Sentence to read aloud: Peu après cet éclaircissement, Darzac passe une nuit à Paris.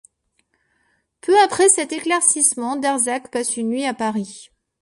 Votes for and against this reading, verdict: 2, 0, accepted